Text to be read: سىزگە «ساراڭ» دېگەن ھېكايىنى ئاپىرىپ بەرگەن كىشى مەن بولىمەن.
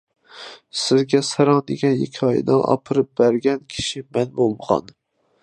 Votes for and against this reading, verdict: 0, 2, rejected